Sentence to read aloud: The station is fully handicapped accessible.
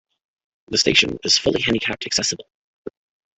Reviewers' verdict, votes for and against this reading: accepted, 2, 0